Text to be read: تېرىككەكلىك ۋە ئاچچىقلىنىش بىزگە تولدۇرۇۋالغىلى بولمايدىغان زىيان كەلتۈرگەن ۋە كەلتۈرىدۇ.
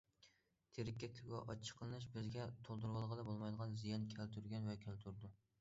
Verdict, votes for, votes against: rejected, 0, 2